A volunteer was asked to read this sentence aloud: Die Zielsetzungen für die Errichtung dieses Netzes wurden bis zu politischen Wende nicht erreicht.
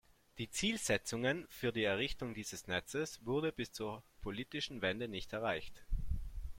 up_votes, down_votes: 1, 2